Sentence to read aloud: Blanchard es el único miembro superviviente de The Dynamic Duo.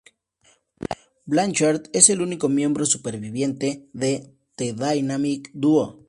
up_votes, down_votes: 2, 0